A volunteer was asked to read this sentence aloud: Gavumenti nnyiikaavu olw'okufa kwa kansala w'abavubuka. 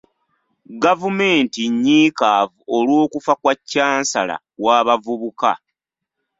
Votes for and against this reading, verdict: 0, 2, rejected